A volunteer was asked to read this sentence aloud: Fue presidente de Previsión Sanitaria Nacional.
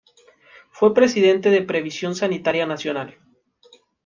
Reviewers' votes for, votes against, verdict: 2, 0, accepted